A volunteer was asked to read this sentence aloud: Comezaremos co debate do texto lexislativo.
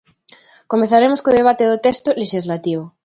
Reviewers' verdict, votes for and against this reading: accepted, 2, 0